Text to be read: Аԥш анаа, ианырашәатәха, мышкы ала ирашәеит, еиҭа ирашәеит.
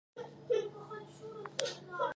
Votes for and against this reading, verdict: 0, 2, rejected